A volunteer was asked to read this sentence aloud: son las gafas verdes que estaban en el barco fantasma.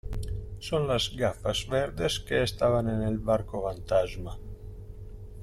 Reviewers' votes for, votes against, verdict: 1, 2, rejected